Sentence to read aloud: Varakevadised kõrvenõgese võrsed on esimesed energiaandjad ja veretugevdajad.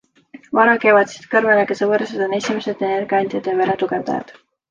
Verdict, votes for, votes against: accepted, 2, 0